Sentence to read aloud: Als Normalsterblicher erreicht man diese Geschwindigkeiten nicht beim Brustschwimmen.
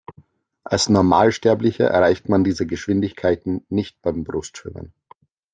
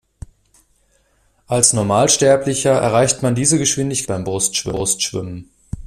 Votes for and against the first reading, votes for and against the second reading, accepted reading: 2, 0, 0, 2, first